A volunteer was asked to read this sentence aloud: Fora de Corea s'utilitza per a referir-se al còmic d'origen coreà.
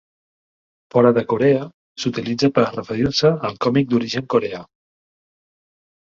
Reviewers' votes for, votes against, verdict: 2, 0, accepted